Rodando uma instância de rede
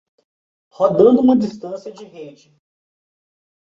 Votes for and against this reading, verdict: 0, 2, rejected